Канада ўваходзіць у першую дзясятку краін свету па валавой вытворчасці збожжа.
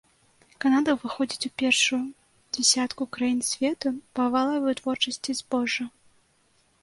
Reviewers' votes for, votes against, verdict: 1, 2, rejected